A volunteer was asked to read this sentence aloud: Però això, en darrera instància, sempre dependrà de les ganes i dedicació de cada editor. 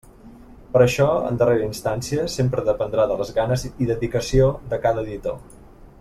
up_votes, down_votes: 2, 0